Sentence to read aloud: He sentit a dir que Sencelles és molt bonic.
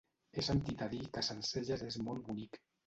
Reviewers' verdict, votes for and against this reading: rejected, 1, 2